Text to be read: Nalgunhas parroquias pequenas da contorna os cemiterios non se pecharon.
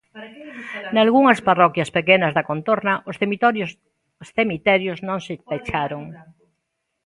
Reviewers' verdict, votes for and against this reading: rejected, 0, 2